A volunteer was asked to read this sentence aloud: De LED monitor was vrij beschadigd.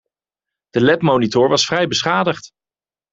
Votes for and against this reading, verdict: 2, 1, accepted